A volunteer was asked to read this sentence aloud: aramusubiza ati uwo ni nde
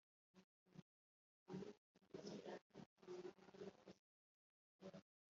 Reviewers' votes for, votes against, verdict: 1, 2, rejected